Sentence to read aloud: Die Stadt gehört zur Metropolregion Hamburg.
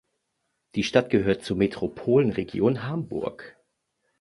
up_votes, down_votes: 1, 2